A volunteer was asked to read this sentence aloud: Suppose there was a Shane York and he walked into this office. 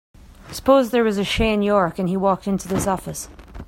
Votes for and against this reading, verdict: 2, 0, accepted